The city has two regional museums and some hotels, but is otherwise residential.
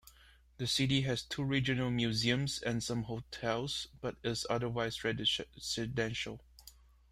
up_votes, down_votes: 0, 2